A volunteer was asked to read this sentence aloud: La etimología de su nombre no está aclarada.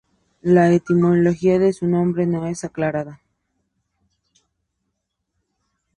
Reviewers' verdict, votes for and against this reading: accepted, 2, 0